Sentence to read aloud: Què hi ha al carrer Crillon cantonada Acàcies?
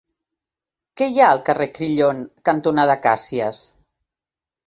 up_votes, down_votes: 2, 0